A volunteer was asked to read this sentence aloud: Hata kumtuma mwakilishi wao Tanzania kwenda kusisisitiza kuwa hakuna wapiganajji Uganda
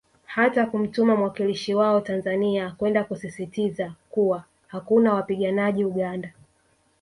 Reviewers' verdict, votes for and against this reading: accepted, 2, 0